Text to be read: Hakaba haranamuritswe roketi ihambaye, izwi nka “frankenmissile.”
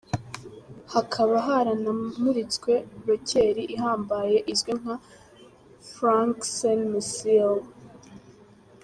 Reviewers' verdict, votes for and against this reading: rejected, 0, 2